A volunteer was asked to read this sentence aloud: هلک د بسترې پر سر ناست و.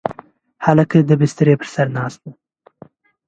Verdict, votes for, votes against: accepted, 2, 1